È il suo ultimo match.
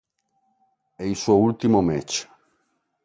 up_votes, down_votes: 2, 0